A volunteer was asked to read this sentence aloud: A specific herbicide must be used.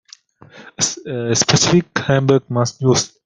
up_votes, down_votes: 0, 2